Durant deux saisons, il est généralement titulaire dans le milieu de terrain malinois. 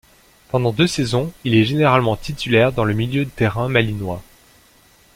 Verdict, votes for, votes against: rejected, 0, 2